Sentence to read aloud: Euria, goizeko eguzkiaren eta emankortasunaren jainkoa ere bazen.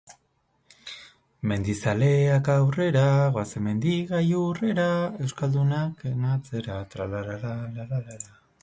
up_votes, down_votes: 0, 4